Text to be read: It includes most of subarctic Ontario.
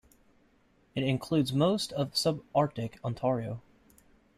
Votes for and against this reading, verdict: 2, 0, accepted